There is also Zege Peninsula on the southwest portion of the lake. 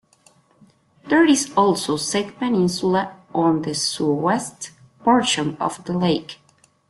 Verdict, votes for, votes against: rejected, 0, 2